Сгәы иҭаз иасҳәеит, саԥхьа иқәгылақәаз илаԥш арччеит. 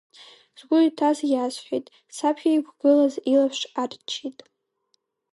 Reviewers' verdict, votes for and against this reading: rejected, 0, 2